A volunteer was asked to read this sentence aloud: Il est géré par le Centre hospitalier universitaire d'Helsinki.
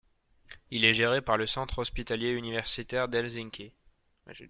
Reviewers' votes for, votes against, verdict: 1, 2, rejected